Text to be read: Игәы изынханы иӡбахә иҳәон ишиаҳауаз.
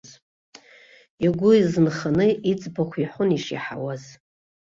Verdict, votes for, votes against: accepted, 2, 0